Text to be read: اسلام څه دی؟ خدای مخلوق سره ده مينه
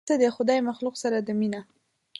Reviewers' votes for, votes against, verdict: 0, 2, rejected